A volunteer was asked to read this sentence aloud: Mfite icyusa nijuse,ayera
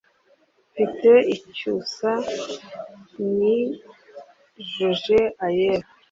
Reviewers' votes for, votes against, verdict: 0, 2, rejected